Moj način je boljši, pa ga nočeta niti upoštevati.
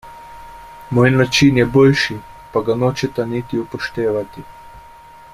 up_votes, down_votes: 2, 0